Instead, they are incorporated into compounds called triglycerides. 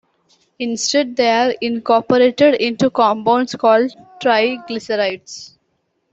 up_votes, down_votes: 2, 0